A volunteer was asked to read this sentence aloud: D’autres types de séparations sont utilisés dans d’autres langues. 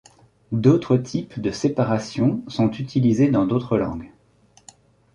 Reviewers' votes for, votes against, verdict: 2, 0, accepted